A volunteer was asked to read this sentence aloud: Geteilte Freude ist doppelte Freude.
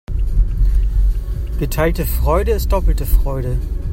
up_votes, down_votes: 2, 0